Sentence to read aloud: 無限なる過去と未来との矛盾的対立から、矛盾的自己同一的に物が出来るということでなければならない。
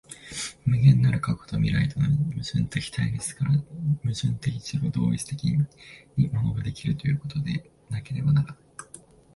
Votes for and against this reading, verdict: 2, 1, accepted